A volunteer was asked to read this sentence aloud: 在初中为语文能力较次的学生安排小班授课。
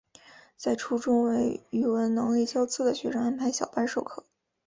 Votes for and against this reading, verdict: 7, 0, accepted